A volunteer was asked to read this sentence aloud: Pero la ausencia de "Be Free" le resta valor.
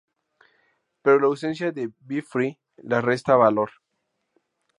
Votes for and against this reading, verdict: 0, 2, rejected